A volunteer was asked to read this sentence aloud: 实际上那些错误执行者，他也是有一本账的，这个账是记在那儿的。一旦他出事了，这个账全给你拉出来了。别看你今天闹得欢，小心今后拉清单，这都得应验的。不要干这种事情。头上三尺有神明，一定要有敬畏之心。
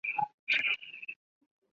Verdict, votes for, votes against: rejected, 0, 3